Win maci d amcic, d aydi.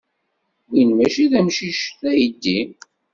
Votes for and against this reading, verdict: 2, 0, accepted